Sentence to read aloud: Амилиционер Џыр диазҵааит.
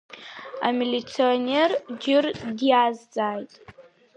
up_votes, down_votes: 1, 2